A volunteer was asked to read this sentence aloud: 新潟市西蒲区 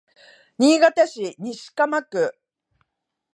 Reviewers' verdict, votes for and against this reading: accepted, 2, 0